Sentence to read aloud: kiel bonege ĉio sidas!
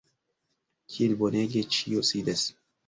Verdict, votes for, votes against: rejected, 0, 2